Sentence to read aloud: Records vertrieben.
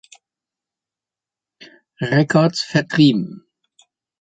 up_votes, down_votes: 2, 0